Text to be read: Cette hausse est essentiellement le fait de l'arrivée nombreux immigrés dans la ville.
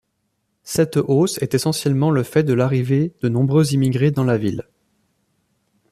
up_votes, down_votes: 0, 2